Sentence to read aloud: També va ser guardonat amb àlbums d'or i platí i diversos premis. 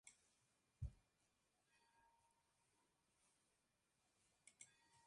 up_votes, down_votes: 0, 2